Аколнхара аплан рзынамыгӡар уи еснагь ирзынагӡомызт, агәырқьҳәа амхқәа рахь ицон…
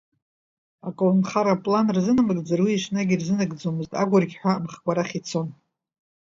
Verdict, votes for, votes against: rejected, 0, 2